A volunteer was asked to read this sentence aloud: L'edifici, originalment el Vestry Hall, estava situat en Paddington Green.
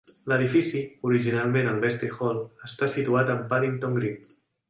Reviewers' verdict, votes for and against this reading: rejected, 0, 2